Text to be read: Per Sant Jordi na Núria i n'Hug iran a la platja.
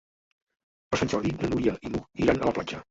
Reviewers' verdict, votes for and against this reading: rejected, 0, 2